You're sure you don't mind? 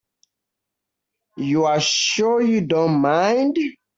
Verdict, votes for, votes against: rejected, 1, 2